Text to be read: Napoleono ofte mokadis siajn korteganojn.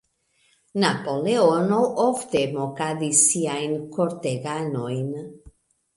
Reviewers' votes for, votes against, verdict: 2, 0, accepted